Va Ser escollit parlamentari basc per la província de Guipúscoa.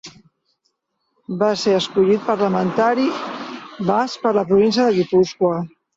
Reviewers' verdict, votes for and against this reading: rejected, 1, 2